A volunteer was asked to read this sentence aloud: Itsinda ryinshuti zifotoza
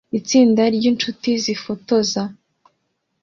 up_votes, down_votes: 2, 0